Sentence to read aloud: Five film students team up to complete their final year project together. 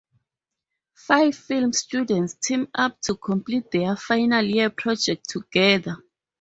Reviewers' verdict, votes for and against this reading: accepted, 4, 0